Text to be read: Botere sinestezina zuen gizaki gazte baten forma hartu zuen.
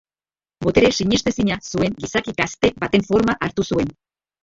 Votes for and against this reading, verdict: 0, 2, rejected